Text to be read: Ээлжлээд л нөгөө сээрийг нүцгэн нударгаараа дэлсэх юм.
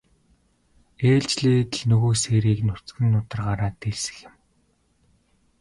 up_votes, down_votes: 2, 0